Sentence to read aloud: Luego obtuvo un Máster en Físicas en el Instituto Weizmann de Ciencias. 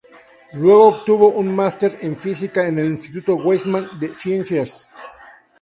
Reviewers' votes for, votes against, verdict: 0, 2, rejected